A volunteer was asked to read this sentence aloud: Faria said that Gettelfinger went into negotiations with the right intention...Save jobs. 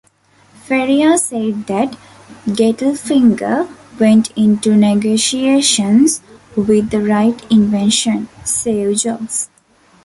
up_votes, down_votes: 0, 2